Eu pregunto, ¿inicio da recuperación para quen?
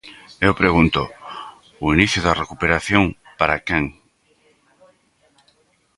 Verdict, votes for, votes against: rejected, 0, 2